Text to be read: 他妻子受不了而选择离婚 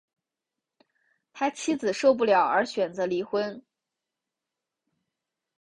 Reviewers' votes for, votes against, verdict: 3, 2, accepted